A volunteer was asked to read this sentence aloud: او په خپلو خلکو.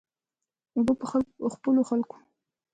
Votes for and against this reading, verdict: 0, 2, rejected